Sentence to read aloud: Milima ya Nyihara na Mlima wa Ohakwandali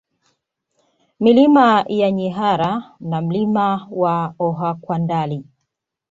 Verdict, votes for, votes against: accepted, 2, 0